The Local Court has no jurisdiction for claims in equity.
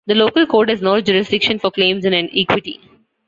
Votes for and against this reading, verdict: 0, 2, rejected